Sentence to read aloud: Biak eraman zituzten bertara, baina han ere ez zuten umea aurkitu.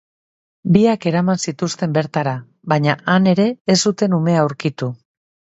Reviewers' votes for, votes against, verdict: 2, 0, accepted